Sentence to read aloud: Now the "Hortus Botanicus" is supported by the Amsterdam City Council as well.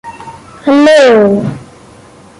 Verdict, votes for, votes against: rejected, 0, 2